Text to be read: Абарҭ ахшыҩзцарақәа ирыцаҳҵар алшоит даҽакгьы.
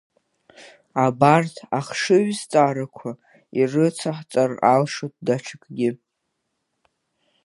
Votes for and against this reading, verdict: 0, 2, rejected